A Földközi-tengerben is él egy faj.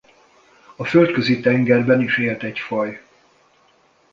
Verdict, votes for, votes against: rejected, 1, 2